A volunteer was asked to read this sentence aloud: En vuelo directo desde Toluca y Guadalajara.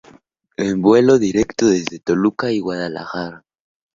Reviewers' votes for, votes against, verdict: 2, 0, accepted